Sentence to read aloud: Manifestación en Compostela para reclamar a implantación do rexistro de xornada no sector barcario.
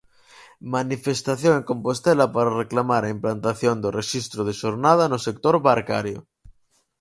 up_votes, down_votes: 4, 0